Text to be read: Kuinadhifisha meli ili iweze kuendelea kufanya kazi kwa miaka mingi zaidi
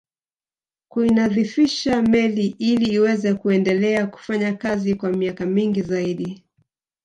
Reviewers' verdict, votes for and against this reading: accepted, 2, 0